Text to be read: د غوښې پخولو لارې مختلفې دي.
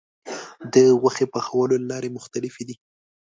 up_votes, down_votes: 2, 0